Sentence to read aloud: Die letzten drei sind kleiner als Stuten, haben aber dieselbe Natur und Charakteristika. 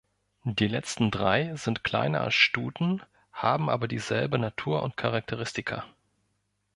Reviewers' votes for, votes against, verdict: 1, 2, rejected